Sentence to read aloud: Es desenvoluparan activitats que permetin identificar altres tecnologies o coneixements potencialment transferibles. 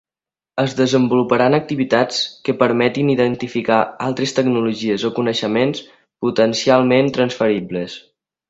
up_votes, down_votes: 3, 0